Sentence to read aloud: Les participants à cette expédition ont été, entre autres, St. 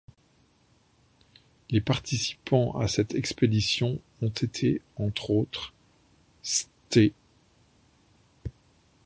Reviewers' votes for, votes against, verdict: 1, 2, rejected